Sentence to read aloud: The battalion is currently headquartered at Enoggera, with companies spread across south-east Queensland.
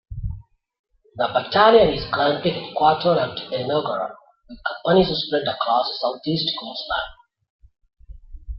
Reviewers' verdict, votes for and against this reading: rejected, 0, 2